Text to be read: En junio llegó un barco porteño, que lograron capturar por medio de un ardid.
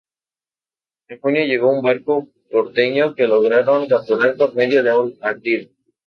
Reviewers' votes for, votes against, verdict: 2, 0, accepted